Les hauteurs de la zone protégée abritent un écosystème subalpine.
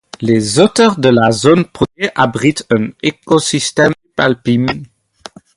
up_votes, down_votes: 2, 2